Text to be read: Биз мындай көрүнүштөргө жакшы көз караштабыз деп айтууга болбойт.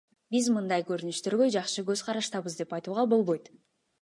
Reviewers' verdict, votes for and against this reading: accepted, 2, 0